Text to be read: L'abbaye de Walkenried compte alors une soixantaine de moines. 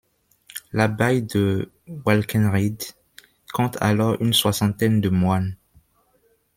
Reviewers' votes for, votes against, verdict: 0, 2, rejected